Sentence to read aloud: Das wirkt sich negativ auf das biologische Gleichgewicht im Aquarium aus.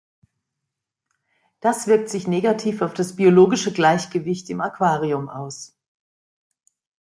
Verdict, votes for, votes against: accepted, 2, 0